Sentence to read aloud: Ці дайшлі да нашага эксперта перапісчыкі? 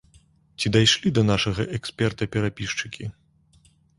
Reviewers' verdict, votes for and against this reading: accepted, 2, 0